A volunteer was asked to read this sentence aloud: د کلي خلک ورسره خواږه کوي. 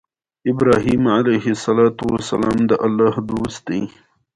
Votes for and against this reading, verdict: 2, 1, accepted